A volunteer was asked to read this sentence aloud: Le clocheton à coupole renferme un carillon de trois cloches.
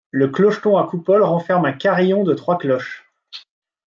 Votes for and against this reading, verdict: 2, 0, accepted